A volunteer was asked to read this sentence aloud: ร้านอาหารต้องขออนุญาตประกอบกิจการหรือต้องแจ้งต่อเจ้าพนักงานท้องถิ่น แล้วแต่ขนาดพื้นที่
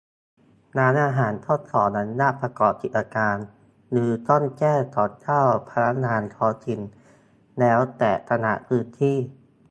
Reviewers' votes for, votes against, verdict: 0, 2, rejected